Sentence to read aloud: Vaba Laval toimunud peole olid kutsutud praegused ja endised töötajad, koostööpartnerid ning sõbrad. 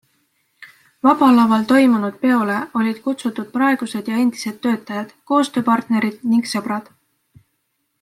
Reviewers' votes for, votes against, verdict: 2, 0, accepted